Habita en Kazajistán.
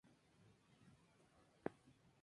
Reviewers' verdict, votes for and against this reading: rejected, 0, 2